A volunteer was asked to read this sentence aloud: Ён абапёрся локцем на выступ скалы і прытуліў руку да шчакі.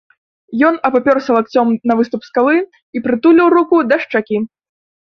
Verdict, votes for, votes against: rejected, 1, 2